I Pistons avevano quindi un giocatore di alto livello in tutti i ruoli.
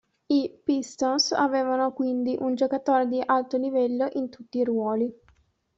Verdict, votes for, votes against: rejected, 1, 2